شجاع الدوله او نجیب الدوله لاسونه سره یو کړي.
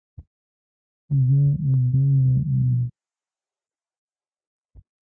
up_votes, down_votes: 0, 2